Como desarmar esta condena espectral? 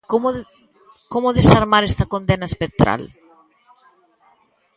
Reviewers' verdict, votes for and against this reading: rejected, 0, 2